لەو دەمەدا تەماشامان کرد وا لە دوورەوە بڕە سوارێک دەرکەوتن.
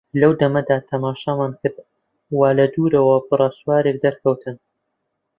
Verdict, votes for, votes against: accepted, 2, 0